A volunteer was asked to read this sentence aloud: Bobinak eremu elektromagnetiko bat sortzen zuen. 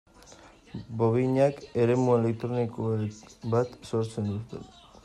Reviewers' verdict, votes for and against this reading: rejected, 0, 2